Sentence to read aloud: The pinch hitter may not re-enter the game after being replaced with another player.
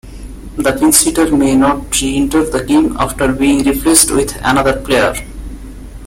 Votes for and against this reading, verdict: 2, 1, accepted